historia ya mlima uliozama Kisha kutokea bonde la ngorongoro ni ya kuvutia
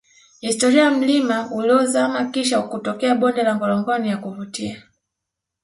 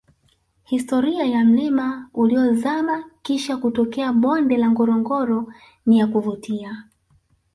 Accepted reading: second